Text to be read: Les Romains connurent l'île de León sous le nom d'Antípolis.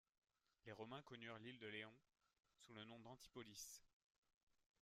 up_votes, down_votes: 1, 2